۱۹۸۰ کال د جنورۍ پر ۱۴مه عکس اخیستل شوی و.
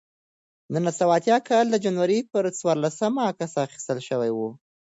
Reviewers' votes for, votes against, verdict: 0, 2, rejected